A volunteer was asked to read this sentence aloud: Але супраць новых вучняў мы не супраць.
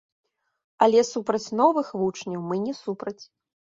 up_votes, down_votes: 2, 1